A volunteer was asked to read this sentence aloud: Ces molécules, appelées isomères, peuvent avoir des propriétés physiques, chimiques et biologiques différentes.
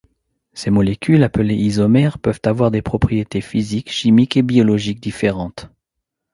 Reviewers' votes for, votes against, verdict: 2, 0, accepted